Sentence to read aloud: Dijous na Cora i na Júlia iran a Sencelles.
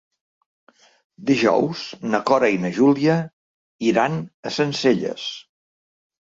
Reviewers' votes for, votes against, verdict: 3, 1, accepted